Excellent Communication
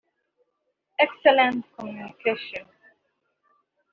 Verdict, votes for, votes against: rejected, 1, 2